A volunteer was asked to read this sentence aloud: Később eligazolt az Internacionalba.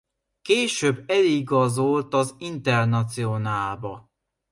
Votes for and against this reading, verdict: 0, 2, rejected